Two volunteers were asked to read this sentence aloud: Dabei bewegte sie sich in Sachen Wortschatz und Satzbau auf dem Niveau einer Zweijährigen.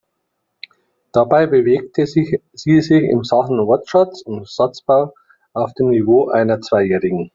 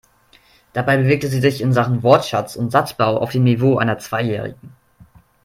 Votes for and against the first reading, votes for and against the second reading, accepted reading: 0, 2, 2, 0, second